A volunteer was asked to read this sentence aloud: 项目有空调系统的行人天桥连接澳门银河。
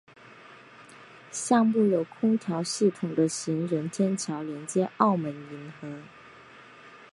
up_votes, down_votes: 2, 0